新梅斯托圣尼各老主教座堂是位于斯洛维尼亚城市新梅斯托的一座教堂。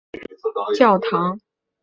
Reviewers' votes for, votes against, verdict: 0, 2, rejected